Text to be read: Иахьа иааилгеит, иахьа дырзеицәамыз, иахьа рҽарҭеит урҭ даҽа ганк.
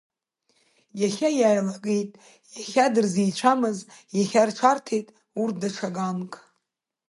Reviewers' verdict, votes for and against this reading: rejected, 1, 2